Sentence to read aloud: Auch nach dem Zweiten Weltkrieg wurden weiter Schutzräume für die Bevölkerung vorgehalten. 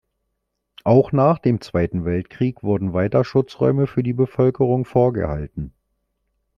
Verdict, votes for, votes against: accepted, 2, 0